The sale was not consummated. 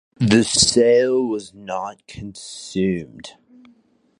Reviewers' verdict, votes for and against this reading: rejected, 0, 2